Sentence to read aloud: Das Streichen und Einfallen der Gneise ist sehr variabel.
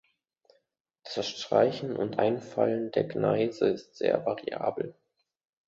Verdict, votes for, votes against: accepted, 2, 0